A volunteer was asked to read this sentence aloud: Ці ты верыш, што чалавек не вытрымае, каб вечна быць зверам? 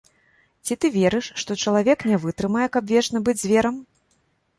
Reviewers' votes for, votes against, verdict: 2, 0, accepted